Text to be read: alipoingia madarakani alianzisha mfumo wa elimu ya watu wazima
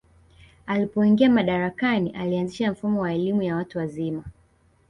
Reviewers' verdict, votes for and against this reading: rejected, 1, 2